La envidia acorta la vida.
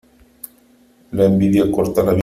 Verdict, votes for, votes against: rejected, 0, 3